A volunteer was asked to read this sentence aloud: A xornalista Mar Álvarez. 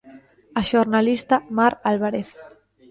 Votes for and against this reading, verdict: 2, 0, accepted